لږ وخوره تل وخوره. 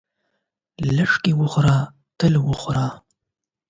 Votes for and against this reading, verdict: 4, 8, rejected